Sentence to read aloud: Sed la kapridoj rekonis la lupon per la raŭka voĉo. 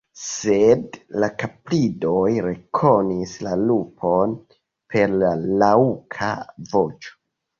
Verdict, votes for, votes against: accepted, 2, 1